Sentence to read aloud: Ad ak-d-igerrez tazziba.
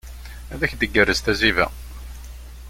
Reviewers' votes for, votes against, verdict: 2, 1, accepted